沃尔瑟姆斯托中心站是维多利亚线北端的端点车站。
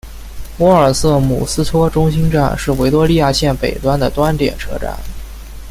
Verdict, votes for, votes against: accepted, 2, 0